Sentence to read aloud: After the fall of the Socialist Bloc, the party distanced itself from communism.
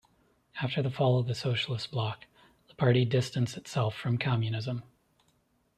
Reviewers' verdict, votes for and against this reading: accepted, 2, 0